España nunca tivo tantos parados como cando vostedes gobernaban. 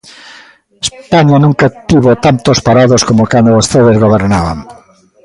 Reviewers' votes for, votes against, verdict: 0, 2, rejected